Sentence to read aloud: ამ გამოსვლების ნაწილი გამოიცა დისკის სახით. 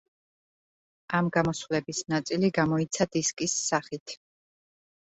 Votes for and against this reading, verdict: 2, 0, accepted